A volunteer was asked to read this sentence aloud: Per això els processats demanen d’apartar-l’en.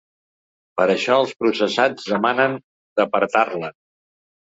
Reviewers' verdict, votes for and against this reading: accepted, 2, 0